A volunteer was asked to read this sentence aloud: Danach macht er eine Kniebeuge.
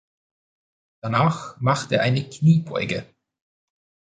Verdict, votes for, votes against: accepted, 2, 0